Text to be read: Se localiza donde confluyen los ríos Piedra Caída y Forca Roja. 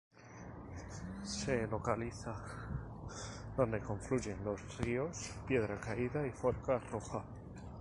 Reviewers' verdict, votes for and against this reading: rejected, 0, 2